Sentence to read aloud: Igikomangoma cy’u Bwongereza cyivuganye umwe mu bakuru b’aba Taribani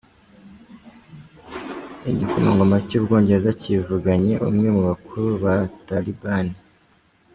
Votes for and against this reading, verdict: 1, 3, rejected